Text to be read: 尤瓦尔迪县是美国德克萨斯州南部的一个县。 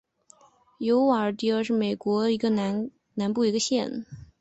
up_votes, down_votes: 2, 2